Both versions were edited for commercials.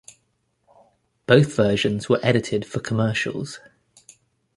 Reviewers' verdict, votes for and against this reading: accepted, 2, 0